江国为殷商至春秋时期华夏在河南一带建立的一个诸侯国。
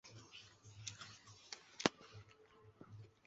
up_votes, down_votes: 3, 1